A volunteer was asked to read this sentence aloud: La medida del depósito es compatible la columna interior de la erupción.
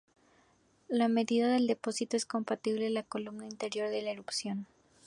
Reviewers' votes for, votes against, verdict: 2, 0, accepted